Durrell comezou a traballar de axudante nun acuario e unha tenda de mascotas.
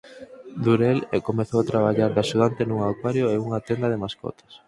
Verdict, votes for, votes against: rejected, 0, 4